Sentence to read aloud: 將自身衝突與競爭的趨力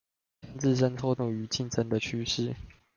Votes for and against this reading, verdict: 1, 2, rejected